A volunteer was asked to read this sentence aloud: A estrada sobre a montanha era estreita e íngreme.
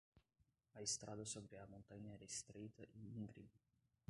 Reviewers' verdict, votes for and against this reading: rejected, 0, 2